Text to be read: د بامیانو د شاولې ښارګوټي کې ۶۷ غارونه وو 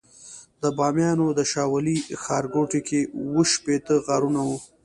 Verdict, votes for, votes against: rejected, 0, 2